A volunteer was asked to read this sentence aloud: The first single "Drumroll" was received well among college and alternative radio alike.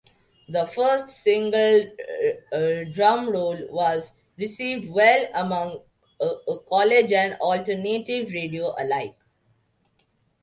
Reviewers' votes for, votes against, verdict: 0, 2, rejected